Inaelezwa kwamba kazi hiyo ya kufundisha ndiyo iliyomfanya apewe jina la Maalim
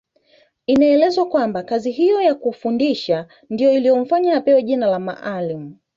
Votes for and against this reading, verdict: 2, 1, accepted